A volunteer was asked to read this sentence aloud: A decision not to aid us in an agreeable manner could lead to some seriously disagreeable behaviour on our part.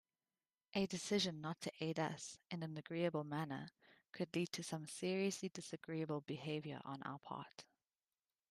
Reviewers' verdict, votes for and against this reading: accepted, 2, 0